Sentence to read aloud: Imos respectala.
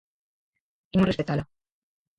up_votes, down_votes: 0, 4